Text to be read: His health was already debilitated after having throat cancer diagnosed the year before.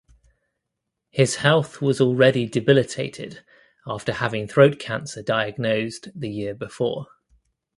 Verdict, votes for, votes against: accepted, 2, 0